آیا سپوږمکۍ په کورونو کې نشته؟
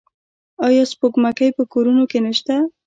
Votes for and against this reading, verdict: 1, 2, rejected